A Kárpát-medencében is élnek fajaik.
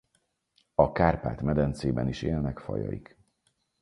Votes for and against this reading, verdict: 4, 0, accepted